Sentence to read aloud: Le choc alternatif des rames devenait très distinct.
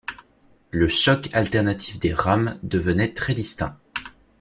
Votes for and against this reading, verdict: 2, 0, accepted